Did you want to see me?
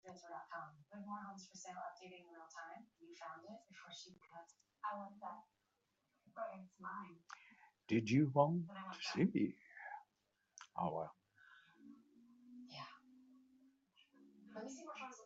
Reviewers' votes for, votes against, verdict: 0, 2, rejected